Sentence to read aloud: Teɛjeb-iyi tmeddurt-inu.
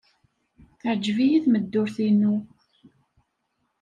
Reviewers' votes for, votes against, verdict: 1, 2, rejected